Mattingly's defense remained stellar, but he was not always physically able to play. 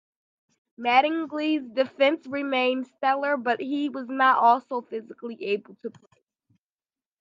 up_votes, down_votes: 0, 2